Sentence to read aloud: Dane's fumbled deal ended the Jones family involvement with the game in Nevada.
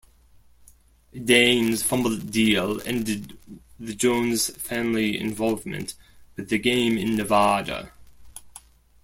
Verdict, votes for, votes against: rejected, 0, 2